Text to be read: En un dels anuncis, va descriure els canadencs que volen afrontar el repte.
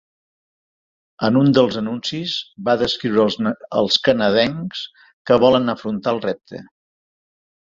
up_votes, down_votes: 0, 2